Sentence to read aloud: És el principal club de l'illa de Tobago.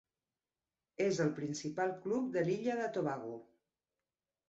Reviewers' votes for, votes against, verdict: 3, 0, accepted